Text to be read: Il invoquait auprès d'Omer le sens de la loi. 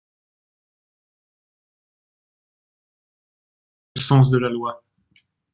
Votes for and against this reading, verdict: 0, 2, rejected